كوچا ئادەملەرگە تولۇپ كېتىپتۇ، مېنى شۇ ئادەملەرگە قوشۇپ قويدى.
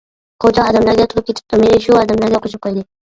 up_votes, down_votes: 0, 2